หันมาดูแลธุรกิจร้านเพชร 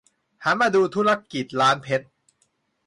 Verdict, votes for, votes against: rejected, 0, 2